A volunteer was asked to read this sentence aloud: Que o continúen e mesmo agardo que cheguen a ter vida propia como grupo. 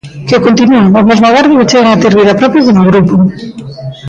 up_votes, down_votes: 0, 2